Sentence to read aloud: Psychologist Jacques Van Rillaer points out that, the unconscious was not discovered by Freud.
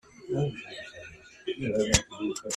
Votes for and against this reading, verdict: 0, 2, rejected